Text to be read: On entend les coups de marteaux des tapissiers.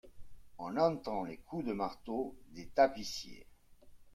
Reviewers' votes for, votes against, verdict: 2, 0, accepted